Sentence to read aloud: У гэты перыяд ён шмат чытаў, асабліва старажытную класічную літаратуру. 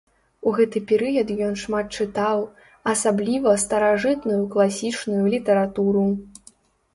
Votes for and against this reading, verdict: 2, 0, accepted